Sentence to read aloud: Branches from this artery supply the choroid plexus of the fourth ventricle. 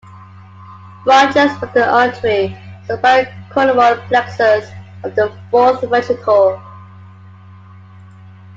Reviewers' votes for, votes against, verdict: 0, 2, rejected